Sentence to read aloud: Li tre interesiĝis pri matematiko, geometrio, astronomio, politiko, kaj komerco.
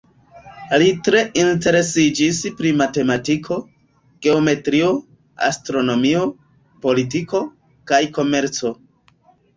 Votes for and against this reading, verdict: 0, 2, rejected